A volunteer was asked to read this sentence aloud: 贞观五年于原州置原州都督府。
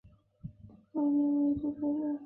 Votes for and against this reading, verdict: 0, 3, rejected